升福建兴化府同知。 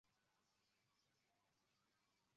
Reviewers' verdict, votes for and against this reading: rejected, 0, 2